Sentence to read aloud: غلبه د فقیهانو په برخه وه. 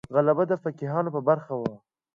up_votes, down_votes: 2, 0